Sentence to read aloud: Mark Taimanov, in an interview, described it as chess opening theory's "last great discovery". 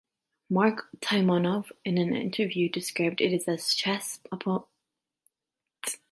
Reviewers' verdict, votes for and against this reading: rejected, 0, 2